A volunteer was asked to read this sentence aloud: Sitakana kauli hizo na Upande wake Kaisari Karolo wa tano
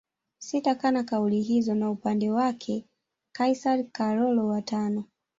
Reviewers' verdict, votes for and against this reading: rejected, 1, 2